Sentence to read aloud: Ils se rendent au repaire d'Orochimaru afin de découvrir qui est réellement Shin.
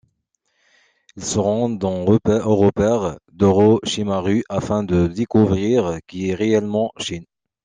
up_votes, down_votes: 1, 2